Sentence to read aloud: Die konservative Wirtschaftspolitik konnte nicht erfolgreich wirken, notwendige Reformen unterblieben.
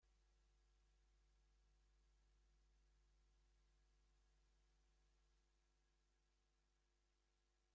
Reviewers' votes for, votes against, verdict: 0, 2, rejected